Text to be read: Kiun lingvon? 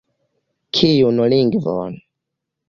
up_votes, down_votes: 2, 0